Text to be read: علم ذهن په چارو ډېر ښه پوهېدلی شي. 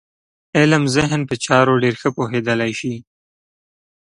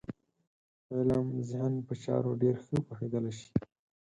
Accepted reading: first